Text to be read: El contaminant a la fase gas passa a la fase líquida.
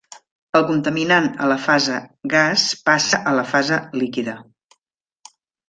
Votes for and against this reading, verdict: 3, 0, accepted